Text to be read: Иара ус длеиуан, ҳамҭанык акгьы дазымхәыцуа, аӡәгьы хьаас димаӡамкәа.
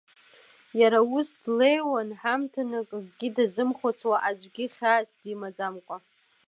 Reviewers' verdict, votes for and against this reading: accepted, 2, 0